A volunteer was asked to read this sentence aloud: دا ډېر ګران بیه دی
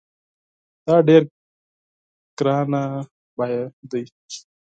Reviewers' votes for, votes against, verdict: 4, 6, rejected